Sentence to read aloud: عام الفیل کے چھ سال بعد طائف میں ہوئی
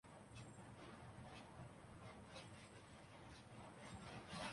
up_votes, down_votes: 0, 2